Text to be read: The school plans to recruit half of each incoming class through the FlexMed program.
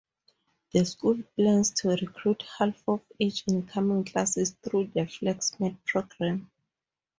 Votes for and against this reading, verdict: 0, 2, rejected